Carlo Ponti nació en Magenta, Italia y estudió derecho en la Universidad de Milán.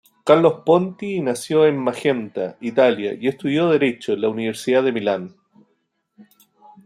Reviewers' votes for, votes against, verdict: 2, 0, accepted